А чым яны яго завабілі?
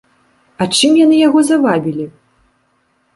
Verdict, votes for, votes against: accepted, 2, 0